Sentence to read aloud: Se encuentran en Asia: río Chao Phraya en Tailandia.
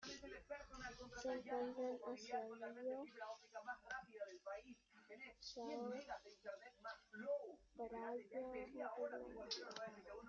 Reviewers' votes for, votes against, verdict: 0, 2, rejected